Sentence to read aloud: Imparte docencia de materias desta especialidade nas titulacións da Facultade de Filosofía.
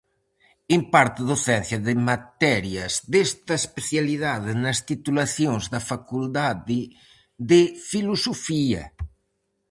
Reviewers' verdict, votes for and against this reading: rejected, 0, 4